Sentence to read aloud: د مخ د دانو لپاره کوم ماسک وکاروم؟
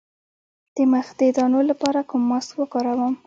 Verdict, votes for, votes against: rejected, 1, 2